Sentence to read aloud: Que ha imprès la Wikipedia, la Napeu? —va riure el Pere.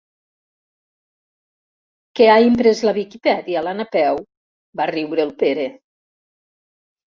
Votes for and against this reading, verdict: 1, 2, rejected